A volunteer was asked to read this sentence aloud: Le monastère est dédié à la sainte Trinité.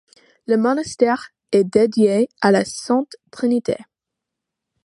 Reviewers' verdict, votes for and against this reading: accepted, 2, 0